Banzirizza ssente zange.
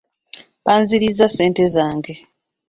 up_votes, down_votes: 2, 0